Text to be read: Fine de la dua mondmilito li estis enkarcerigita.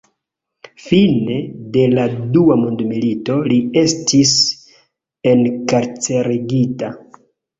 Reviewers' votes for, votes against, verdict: 4, 3, accepted